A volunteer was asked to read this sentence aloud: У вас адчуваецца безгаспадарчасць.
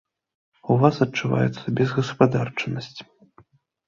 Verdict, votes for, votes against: rejected, 1, 2